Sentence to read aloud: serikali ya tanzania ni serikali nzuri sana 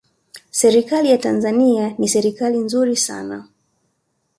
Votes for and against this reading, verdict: 2, 0, accepted